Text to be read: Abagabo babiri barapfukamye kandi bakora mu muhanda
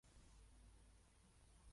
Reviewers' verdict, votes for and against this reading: rejected, 0, 2